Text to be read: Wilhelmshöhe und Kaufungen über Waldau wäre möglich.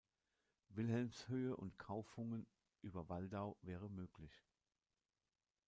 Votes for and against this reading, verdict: 2, 0, accepted